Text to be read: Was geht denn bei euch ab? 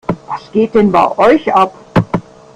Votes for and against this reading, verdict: 1, 2, rejected